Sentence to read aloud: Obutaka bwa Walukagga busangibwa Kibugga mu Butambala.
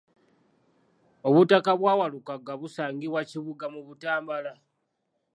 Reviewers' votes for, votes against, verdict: 2, 0, accepted